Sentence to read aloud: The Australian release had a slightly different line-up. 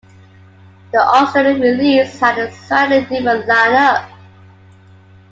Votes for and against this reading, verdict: 2, 1, accepted